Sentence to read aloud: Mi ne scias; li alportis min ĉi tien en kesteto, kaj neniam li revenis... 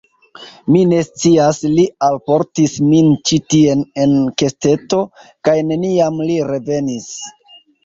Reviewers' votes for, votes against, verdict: 1, 2, rejected